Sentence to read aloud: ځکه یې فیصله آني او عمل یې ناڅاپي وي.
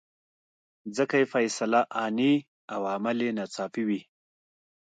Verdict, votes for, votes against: accepted, 2, 0